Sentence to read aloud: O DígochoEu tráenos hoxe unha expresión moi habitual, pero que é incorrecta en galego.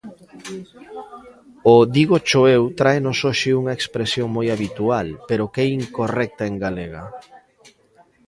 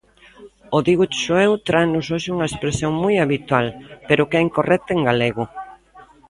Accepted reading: second